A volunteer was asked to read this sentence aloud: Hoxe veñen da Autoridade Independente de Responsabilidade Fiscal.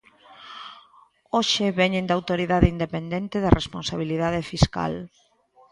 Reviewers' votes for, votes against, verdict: 1, 2, rejected